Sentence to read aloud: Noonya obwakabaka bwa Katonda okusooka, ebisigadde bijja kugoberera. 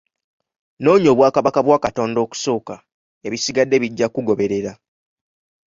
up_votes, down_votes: 0, 2